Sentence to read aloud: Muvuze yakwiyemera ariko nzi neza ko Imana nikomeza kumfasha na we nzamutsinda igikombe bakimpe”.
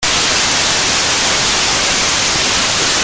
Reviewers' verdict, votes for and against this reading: rejected, 0, 2